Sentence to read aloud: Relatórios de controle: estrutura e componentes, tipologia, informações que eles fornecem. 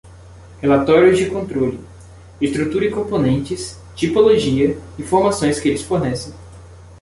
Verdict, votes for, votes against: accepted, 2, 0